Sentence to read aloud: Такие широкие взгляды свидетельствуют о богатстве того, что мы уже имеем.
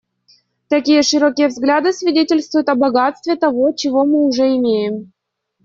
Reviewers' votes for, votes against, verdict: 0, 2, rejected